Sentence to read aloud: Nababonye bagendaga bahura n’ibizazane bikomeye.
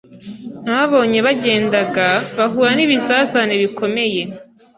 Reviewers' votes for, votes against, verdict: 2, 0, accepted